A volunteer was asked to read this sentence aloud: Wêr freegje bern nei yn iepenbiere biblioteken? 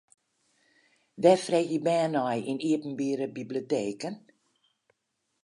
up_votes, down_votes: 4, 0